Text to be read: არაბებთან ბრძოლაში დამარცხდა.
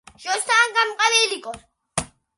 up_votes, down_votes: 0, 2